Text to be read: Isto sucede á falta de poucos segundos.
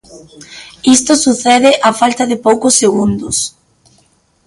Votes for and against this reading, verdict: 2, 0, accepted